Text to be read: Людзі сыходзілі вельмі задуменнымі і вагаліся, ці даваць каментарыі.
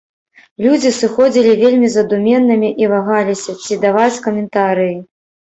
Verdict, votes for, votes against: accepted, 2, 0